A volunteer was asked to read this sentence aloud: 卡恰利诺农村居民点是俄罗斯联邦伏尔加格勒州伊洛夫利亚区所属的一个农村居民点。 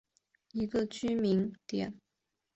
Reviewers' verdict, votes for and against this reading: accepted, 2, 1